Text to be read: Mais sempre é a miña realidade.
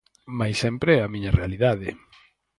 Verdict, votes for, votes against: accepted, 4, 0